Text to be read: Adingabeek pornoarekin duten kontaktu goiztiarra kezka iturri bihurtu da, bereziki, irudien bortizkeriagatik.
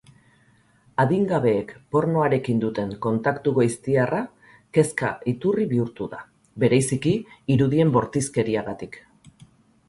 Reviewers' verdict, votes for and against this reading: accepted, 2, 0